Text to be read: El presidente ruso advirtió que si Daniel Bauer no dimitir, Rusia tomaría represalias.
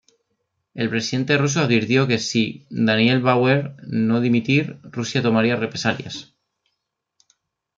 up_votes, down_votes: 0, 2